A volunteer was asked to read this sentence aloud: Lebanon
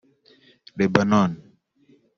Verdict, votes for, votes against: rejected, 1, 2